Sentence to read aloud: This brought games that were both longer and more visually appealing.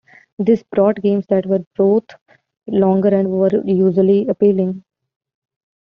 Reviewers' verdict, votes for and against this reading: accepted, 2, 1